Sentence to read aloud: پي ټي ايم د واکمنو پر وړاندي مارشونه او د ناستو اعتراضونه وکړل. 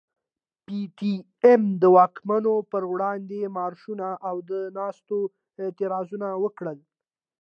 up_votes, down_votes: 1, 2